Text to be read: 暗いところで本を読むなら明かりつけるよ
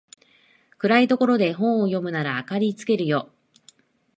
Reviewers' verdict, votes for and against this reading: accepted, 2, 0